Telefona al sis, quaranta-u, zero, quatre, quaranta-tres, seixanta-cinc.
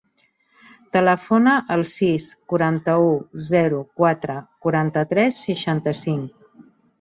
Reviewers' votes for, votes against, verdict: 1, 2, rejected